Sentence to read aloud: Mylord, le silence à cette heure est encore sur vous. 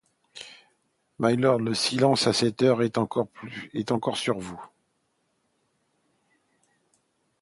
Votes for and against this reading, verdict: 0, 2, rejected